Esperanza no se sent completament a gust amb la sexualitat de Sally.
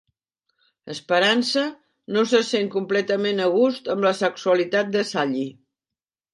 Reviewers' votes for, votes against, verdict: 1, 2, rejected